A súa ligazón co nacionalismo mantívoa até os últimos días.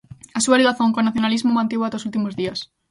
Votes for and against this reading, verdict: 2, 0, accepted